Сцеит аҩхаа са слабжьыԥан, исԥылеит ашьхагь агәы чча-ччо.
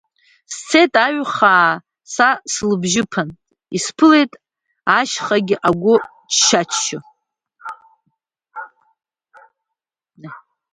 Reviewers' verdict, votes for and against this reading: rejected, 1, 2